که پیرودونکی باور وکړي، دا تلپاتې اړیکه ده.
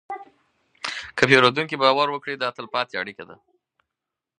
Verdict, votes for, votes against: accepted, 4, 0